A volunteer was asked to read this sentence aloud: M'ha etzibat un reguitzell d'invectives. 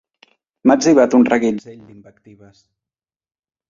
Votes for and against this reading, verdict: 0, 2, rejected